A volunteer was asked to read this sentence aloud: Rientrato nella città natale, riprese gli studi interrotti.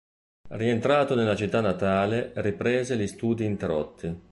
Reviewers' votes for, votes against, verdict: 0, 2, rejected